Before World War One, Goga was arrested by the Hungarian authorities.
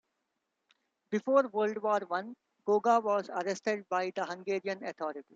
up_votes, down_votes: 1, 2